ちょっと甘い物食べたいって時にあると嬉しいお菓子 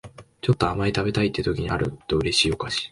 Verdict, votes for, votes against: rejected, 0, 2